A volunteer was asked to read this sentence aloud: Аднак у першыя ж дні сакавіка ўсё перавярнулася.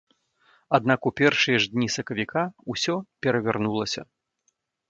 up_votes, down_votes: 2, 0